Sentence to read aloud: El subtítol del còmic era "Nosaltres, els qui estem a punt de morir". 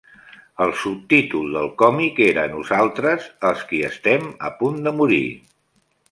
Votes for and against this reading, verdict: 3, 1, accepted